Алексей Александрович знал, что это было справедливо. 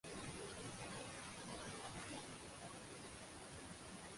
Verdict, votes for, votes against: rejected, 0, 2